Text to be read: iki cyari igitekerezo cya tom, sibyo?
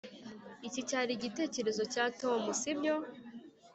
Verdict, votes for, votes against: accepted, 2, 0